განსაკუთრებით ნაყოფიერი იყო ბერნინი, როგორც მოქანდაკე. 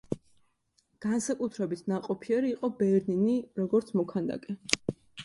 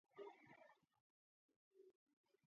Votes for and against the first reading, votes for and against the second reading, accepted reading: 2, 0, 0, 2, first